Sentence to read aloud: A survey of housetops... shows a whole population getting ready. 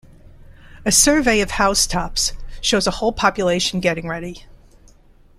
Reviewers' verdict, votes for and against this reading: accepted, 2, 0